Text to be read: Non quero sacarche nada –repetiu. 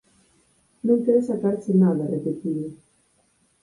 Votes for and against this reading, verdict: 4, 2, accepted